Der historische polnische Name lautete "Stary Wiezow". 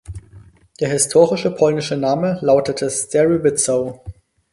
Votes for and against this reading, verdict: 0, 4, rejected